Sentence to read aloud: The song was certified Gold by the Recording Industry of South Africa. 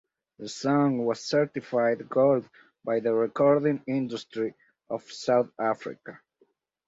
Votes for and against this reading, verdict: 4, 0, accepted